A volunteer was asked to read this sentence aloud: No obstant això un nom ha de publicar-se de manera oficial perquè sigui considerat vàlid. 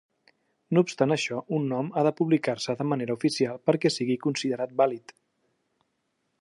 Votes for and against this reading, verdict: 3, 0, accepted